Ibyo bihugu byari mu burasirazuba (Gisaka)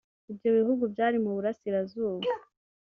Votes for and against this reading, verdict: 1, 2, rejected